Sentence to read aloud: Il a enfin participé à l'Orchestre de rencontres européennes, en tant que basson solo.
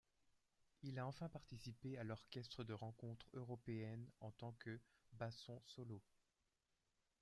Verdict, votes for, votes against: accepted, 2, 1